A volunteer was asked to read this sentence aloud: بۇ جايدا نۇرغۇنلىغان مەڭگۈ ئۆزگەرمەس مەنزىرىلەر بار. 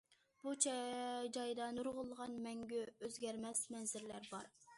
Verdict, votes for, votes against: accepted, 2, 1